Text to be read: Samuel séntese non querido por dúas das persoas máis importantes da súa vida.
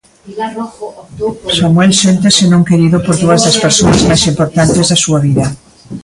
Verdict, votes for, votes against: rejected, 0, 2